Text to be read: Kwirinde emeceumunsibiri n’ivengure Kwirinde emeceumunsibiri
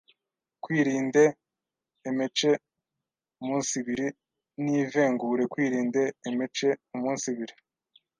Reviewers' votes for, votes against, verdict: 1, 2, rejected